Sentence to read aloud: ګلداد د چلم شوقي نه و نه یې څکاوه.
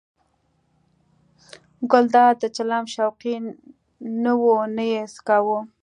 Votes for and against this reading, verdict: 2, 0, accepted